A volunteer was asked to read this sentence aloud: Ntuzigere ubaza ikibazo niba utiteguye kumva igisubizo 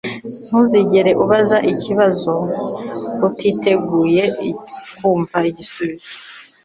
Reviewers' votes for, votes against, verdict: 3, 0, accepted